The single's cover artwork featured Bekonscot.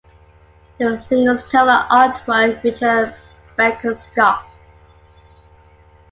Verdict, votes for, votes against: accepted, 2, 0